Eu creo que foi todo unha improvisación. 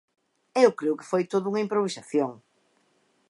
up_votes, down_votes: 2, 0